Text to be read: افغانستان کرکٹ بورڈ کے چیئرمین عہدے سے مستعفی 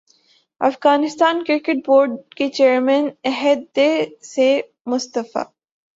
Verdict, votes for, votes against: rejected, 0, 3